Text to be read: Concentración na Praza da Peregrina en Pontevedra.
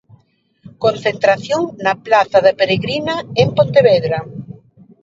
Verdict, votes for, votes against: rejected, 0, 2